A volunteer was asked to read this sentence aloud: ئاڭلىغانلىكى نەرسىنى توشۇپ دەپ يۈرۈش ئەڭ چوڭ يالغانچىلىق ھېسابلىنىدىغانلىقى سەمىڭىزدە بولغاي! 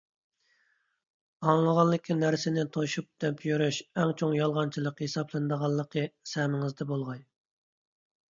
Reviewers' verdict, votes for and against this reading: accepted, 2, 0